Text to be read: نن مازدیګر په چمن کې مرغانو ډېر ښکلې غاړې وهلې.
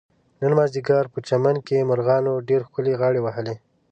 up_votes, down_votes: 2, 0